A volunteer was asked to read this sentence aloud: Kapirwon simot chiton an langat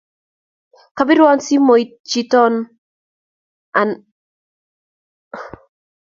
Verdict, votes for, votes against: rejected, 1, 2